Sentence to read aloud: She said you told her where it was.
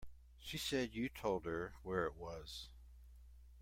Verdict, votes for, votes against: accepted, 2, 0